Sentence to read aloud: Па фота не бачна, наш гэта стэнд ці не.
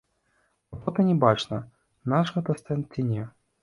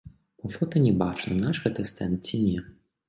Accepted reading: second